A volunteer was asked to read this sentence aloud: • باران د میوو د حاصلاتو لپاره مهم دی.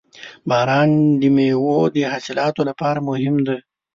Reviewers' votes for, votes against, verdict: 4, 1, accepted